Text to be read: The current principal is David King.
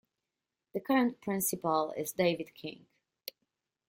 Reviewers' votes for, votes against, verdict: 2, 0, accepted